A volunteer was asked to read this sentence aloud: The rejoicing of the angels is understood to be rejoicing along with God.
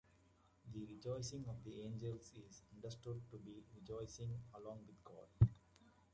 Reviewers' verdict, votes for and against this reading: rejected, 1, 2